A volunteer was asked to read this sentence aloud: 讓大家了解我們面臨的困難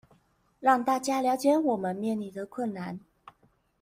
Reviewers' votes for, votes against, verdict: 2, 0, accepted